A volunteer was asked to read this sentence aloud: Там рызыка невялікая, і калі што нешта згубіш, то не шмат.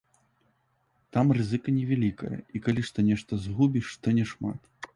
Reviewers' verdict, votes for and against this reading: accepted, 2, 1